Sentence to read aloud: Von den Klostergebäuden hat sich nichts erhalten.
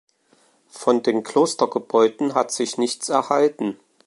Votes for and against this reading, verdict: 2, 0, accepted